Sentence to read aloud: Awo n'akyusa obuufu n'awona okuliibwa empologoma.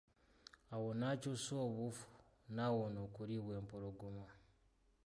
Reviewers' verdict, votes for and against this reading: accepted, 2, 0